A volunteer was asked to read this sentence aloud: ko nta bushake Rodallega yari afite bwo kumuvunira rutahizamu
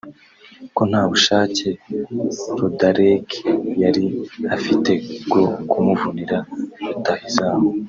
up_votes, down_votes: 1, 2